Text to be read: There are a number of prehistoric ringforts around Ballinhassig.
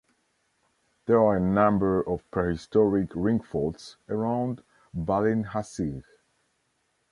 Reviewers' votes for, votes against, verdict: 0, 2, rejected